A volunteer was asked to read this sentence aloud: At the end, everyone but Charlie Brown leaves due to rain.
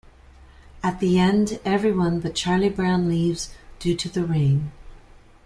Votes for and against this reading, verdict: 1, 2, rejected